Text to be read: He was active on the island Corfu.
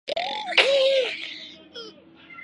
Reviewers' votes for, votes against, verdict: 0, 2, rejected